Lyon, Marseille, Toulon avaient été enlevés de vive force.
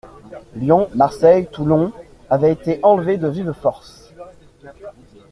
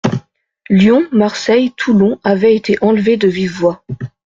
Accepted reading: first